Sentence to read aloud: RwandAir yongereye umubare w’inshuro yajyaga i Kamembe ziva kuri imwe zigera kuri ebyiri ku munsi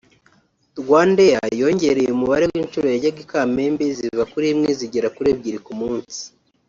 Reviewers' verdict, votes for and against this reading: accepted, 2, 0